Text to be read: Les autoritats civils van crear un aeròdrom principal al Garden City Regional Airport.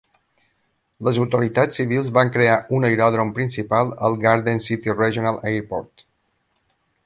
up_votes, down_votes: 3, 0